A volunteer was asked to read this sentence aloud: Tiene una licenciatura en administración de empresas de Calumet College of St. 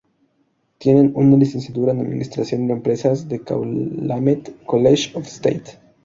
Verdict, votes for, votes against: accepted, 2, 0